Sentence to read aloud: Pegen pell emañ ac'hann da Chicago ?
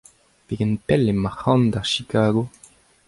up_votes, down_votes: 2, 0